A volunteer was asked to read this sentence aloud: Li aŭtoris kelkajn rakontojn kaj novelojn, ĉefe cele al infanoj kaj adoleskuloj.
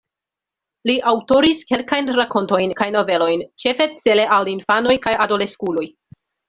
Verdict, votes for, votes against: accepted, 2, 0